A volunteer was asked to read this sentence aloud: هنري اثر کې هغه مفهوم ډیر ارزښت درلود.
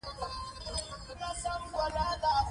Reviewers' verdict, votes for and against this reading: rejected, 0, 2